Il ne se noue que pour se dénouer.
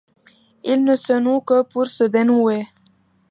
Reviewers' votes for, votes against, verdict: 2, 1, accepted